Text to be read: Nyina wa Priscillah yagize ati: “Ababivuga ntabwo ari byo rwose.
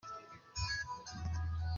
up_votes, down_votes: 0, 2